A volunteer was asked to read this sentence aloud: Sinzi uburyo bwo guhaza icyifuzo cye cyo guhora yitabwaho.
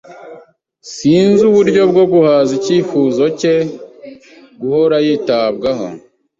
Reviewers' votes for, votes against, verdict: 1, 2, rejected